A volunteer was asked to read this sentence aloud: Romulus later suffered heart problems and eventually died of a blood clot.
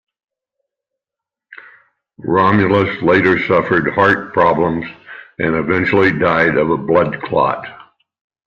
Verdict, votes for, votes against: accepted, 2, 0